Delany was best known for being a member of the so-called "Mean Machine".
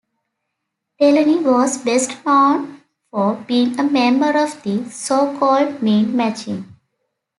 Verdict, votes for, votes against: accepted, 2, 1